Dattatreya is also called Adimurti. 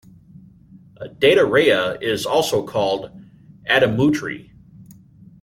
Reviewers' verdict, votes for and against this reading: rejected, 0, 2